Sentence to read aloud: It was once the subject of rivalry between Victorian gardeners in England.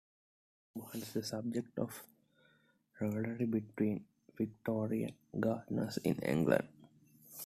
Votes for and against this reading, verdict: 2, 1, accepted